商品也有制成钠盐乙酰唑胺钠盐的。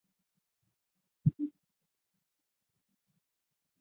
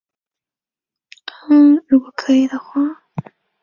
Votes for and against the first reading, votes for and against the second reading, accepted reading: 4, 3, 0, 2, first